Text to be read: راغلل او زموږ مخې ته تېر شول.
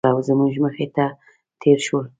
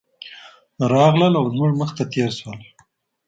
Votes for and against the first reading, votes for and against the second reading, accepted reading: 1, 2, 2, 0, second